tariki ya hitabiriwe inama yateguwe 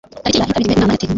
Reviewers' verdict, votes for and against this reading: rejected, 1, 2